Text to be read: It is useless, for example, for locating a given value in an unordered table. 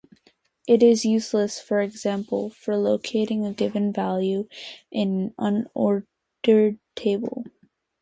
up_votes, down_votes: 0, 2